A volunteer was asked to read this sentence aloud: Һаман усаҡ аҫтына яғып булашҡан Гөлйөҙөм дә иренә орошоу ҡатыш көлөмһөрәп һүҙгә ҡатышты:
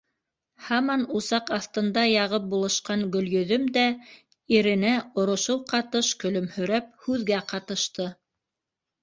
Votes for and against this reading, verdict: 1, 2, rejected